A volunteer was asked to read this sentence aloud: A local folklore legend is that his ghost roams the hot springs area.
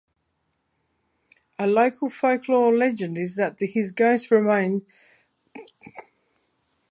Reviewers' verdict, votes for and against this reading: rejected, 0, 2